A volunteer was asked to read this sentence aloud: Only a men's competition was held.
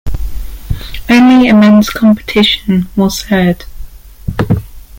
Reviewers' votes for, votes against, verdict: 0, 2, rejected